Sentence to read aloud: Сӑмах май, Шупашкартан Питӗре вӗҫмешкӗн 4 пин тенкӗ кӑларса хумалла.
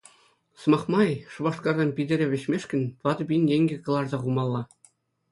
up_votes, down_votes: 0, 2